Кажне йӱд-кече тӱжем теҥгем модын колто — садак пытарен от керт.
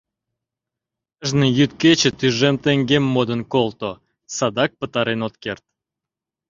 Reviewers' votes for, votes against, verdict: 0, 2, rejected